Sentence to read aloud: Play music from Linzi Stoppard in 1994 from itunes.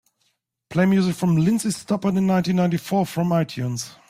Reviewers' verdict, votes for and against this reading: rejected, 0, 2